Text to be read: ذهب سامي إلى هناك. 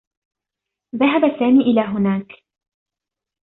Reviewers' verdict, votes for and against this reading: accepted, 2, 0